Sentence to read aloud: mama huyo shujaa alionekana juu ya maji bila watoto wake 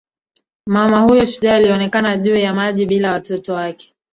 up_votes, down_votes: 0, 2